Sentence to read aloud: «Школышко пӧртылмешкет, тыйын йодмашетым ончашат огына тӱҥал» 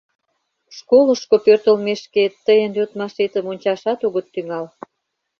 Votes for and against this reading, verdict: 0, 2, rejected